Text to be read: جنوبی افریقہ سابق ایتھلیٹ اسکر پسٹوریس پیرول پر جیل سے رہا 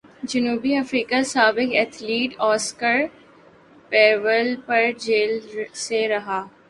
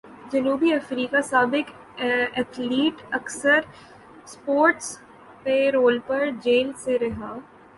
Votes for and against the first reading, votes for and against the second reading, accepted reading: 0, 2, 6, 3, second